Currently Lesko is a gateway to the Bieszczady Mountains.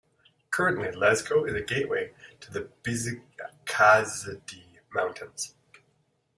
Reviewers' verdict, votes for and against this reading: rejected, 0, 2